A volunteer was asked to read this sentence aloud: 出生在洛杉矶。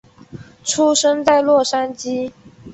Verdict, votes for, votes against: accepted, 2, 0